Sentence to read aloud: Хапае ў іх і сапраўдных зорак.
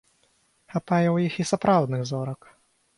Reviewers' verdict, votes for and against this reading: accepted, 4, 0